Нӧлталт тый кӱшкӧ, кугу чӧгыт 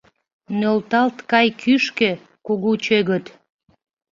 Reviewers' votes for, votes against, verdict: 0, 2, rejected